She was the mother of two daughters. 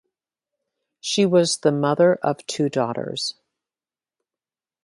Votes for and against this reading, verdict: 2, 0, accepted